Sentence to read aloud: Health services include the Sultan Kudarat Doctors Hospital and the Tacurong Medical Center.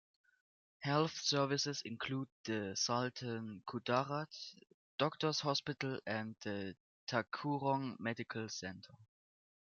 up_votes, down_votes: 1, 2